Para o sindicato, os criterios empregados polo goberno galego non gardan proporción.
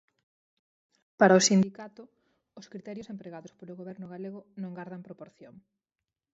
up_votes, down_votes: 4, 0